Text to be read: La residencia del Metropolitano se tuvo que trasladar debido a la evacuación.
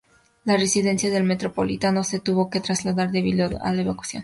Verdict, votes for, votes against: rejected, 0, 2